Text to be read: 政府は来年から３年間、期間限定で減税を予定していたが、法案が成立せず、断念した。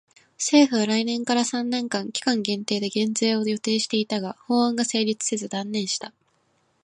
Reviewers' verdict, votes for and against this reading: rejected, 0, 2